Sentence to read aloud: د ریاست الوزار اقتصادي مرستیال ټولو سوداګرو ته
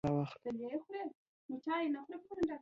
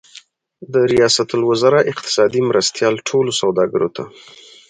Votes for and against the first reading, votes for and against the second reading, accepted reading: 0, 2, 4, 0, second